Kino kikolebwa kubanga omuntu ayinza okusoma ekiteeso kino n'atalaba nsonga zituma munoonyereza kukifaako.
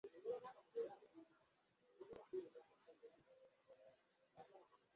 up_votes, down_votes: 0, 2